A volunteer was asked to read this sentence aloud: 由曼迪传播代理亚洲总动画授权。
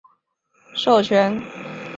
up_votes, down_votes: 0, 2